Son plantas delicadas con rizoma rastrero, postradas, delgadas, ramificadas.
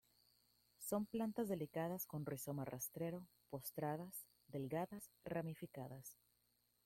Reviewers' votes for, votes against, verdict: 0, 2, rejected